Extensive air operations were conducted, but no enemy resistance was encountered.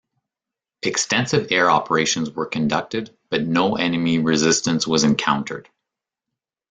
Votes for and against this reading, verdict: 2, 0, accepted